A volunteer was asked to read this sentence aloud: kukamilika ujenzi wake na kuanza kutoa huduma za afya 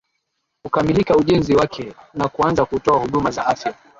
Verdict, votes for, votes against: rejected, 0, 2